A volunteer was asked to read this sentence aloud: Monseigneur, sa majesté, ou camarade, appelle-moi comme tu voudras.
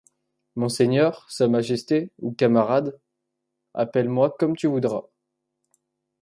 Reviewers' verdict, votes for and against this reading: accepted, 2, 0